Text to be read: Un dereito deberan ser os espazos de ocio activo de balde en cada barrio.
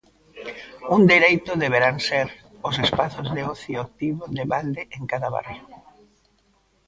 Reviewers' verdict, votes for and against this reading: rejected, 0, 2